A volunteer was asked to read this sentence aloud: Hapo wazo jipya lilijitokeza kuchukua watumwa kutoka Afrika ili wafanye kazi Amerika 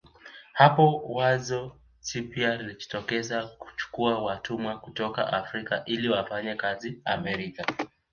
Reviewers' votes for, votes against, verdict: 2, 1, accepted